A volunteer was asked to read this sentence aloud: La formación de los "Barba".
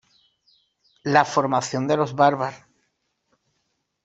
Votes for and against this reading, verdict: 2, 0, accepted